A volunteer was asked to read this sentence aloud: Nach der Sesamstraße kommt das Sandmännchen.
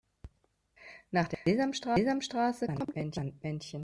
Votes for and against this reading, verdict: 0, 2, rejected